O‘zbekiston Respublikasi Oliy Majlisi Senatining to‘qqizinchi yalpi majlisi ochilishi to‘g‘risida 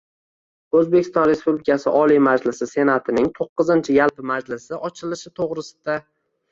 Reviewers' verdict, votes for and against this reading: rejected, 1, 2